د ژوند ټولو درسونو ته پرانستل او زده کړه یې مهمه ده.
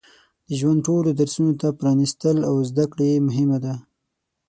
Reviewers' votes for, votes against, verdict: 6, 0, accepted